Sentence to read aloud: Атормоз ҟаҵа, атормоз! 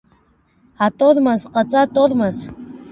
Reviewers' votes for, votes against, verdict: 2, 0, accepted